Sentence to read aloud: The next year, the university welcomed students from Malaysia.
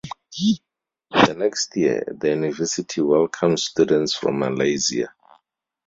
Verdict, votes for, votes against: accepted, 4, 0